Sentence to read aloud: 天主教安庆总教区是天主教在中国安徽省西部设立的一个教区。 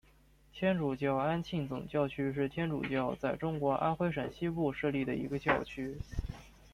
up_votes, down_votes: 2, 0